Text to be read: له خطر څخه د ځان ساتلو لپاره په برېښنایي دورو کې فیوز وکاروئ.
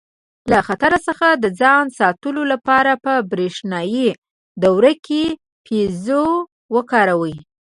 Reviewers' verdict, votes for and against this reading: rejected, 1, 2